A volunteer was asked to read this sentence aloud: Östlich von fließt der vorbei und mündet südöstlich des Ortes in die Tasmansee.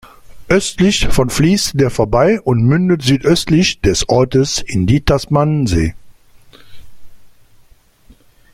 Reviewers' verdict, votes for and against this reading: rejected, 1, 2